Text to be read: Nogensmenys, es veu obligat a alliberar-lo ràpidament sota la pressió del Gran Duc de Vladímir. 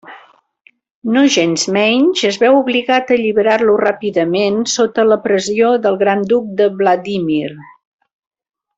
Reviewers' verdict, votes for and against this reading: accepted, 2, 1